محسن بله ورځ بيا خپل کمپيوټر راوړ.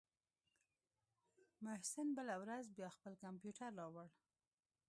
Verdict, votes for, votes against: rejected, 0, 2